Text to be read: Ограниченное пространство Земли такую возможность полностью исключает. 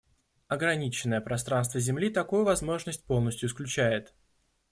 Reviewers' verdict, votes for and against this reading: accepted, 2, 0